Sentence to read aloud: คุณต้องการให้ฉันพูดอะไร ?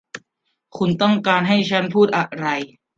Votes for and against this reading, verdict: 2, 0, accepted